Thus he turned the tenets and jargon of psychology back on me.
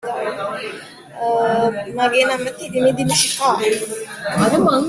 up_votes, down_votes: 0, 2